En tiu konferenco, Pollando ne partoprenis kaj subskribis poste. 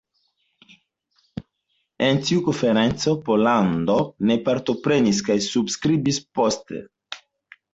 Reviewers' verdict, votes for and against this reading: accepted, 2, 0